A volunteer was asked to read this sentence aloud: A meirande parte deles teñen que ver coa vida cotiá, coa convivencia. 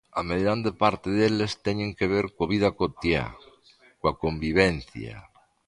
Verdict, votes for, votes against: accepted, 2, 0